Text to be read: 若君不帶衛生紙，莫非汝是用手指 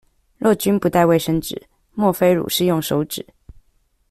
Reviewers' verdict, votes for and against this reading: accepted, 2, 0